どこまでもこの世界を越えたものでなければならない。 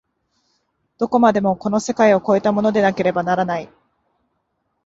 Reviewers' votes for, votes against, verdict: 6, 0, accepted